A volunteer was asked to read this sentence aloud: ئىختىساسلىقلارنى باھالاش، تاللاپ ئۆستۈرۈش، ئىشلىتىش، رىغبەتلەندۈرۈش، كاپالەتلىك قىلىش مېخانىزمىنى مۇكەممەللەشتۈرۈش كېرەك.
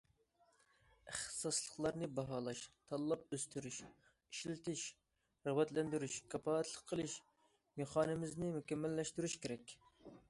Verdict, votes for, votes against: accepted, 2, 1